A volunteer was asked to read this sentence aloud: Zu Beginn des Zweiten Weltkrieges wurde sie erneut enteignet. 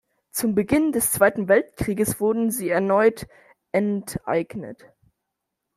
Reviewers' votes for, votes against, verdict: 0, 2, rejected